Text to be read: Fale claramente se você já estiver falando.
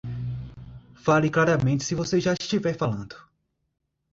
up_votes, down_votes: 2, 0